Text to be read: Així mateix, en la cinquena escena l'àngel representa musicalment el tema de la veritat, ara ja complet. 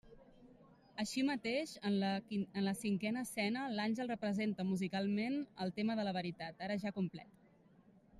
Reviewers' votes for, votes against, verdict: 0, 2, rejected